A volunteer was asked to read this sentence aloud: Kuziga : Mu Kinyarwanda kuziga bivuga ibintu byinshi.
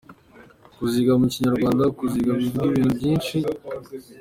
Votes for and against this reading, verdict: 3, 1, accepted